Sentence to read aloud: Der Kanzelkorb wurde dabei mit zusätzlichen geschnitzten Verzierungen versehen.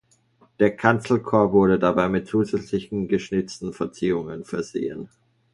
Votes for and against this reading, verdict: 2, 0, accepted